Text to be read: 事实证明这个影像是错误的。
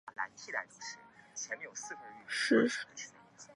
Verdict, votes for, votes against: rejected, 1, 2